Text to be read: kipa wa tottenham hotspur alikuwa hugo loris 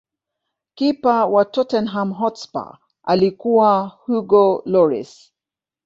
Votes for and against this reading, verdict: 4, 0, accepted